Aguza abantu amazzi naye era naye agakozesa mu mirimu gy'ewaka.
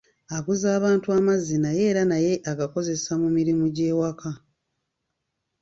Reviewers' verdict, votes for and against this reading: accepted, 2, 0